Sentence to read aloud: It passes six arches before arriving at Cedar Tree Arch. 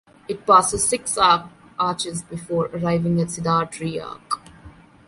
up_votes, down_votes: 1, 2